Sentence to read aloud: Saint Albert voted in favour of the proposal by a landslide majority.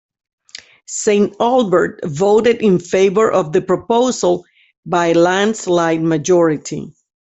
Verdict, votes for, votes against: accepted, 2, 1